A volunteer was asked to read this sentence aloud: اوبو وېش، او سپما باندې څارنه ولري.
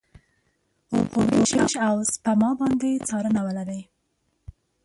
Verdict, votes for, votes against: rejected, 0, 2